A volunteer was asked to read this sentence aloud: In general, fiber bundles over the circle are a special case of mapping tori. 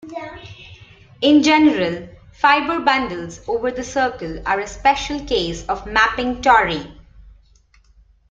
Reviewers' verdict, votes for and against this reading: rejected, 0, 2